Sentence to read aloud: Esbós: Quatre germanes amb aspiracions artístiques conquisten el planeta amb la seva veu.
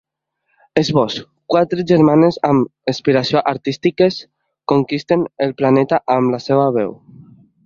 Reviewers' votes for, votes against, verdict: 0, 3, rejected